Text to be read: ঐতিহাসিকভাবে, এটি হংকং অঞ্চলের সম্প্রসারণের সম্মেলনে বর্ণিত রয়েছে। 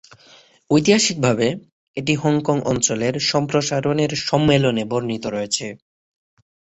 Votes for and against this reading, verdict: 6, 0, accepted